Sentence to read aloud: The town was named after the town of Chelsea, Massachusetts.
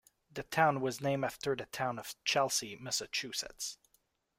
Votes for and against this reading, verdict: 2, 0, accepted